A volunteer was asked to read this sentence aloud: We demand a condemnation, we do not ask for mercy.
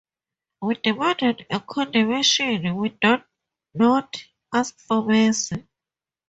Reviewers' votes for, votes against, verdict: 0, 2, rejected